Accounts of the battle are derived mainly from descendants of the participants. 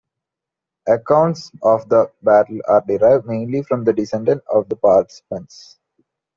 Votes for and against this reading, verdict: 1, 2, rejected